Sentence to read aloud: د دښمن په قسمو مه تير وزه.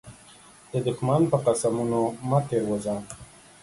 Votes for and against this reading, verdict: 0, 2, rejected